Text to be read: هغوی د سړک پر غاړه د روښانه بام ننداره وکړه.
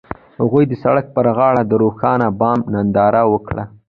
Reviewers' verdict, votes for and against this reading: accepted, 2, 1